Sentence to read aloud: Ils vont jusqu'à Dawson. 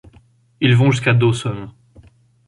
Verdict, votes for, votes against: accepted, 2, 0